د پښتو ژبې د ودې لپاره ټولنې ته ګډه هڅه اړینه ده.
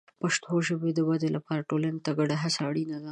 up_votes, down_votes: 3, 0